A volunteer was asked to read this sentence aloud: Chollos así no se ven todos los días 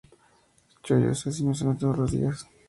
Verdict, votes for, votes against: accepted, 2, 0